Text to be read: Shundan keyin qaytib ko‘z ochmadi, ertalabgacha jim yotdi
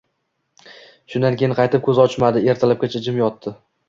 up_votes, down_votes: 2, 0